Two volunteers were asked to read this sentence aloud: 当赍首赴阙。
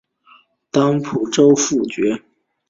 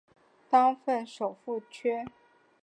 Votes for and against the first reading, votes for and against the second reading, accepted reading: 2, 4, 4, 1, second